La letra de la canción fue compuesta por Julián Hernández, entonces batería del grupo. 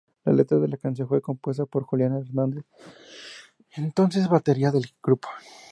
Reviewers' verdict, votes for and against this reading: accepted, 2, 0